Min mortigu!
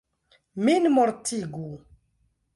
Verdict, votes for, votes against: accepted, 2, 0